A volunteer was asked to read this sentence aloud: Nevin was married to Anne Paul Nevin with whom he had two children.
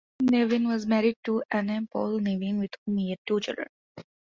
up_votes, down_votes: 0, 2